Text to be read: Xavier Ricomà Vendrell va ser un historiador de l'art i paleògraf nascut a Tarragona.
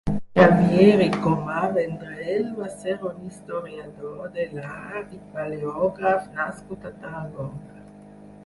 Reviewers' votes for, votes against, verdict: 0, 6, rejected